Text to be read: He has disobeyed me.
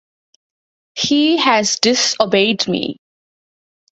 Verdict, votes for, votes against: accepted, 2, 0